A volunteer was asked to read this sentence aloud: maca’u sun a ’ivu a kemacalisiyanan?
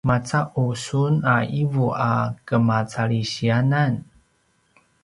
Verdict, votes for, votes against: rejected, 0, 2